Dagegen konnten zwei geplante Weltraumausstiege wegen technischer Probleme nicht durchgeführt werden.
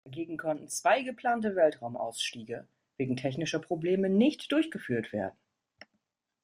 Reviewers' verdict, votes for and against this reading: rejected, 0, 2